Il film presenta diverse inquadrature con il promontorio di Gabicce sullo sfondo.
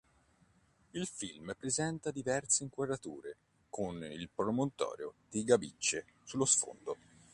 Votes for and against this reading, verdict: 2, 0, accepted